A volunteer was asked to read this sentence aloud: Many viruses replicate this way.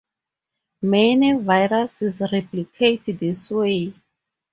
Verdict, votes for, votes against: accepted, 4, 2